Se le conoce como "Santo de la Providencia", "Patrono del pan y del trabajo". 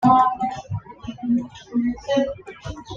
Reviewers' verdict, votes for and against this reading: rejected, 1, 2